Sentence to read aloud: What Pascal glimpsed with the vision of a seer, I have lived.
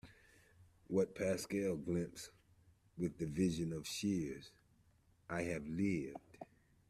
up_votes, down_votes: 1, 2